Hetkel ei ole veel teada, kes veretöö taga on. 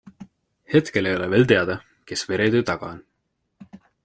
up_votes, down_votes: 2, 0